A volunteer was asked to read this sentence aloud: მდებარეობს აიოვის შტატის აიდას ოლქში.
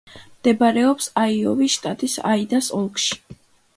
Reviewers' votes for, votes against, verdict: 2, 0, accepted